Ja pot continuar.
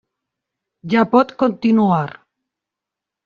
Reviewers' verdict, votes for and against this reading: rejected, 0, 2